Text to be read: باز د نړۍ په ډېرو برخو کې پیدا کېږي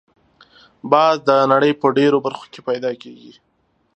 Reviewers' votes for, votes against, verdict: 2, 0, accepted